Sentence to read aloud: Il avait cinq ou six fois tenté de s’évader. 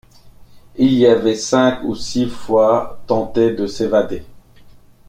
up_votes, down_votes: 0, 2